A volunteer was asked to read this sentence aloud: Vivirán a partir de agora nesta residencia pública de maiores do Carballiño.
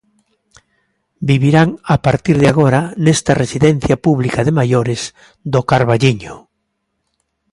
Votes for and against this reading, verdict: 2, 0, accepted